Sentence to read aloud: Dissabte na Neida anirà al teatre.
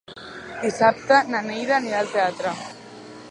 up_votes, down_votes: 0, 2